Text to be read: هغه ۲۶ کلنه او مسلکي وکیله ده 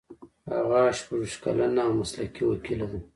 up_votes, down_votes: 0, 2